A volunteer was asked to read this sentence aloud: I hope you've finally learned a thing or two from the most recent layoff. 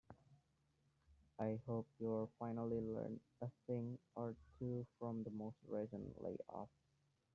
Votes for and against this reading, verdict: 0, 2, rejected